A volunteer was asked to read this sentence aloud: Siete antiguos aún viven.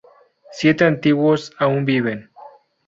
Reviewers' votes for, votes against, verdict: 0, 2, rejected